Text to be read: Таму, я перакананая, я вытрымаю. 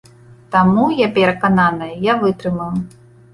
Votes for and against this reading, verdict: 2, 0, accepted